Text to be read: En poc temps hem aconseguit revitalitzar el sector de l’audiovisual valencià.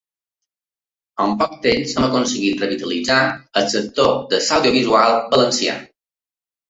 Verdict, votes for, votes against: rejected, 2, 3